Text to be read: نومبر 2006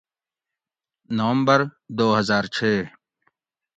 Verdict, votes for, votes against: rejected, 0, 2